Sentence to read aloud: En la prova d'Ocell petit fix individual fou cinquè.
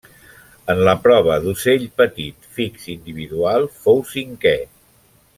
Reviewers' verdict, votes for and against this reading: accepted, 3, 0